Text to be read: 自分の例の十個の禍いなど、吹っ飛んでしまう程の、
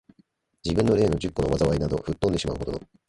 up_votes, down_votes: 2, 1